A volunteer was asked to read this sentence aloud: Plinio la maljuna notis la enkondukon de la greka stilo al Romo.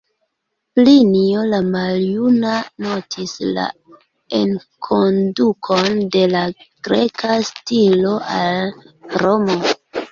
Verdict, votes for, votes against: accepted, 2, 1